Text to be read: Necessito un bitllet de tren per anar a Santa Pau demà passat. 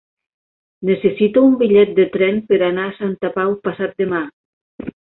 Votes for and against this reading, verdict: 1, 2, rejected